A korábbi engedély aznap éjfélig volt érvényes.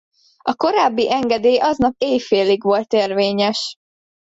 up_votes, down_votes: 2, 0